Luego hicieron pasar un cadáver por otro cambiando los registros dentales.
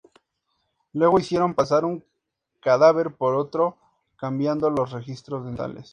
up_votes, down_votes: 2, 0